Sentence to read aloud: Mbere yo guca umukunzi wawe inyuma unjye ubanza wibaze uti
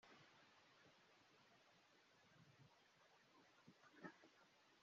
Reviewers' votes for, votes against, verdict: 0, 2, rejected